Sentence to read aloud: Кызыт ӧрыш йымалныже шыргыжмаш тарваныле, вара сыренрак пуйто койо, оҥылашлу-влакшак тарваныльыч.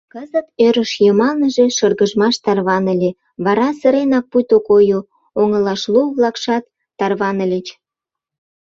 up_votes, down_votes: 0, 2